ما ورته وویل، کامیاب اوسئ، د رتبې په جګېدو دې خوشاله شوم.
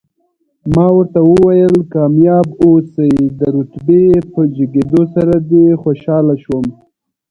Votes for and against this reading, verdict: 0, 2, rejected